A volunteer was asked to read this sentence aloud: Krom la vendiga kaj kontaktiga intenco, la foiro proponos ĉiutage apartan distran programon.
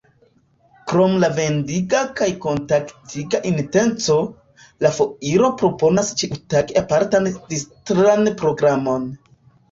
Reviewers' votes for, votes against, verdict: 2, 3, rejected